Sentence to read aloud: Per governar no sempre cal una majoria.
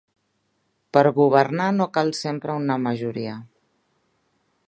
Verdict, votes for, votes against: rejected, 0, 2